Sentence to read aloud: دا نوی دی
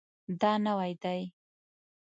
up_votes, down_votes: 1, 2